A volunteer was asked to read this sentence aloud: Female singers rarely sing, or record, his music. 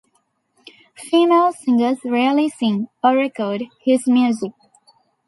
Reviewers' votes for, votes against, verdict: 2, 0, accepted